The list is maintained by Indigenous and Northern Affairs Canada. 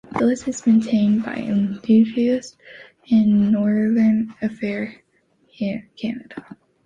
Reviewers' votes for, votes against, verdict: 2, 1, accepted